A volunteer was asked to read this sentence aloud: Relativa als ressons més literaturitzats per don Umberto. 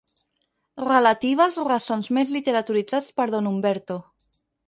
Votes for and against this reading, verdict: 0, 4, rejected